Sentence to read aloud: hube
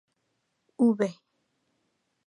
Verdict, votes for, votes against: rejected, 2, 2